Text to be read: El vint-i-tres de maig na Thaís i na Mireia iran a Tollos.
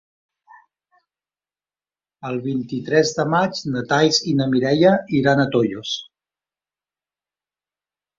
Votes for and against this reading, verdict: 0, 2, rejected